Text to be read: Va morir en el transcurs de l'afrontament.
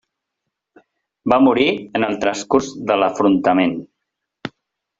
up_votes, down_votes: 3, 0